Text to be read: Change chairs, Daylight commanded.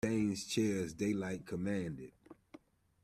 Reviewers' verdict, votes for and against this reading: rejected, 0, 2